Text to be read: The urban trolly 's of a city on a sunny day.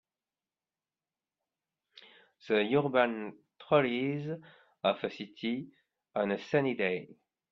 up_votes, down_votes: 1, 2